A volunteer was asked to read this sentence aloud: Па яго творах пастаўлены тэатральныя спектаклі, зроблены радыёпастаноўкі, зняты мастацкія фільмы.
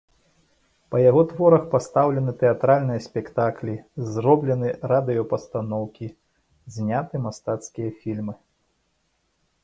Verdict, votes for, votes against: accepted, 2, 0